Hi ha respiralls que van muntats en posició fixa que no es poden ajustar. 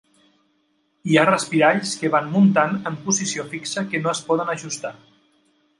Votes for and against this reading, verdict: 1, 2, rejected